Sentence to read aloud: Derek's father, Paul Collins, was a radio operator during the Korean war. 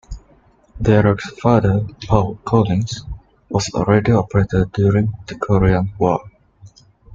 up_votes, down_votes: 2, 1